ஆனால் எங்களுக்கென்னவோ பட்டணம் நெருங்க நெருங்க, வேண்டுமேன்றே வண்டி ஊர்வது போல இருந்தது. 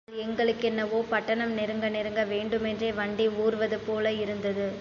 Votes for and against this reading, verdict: 1, 2, rejected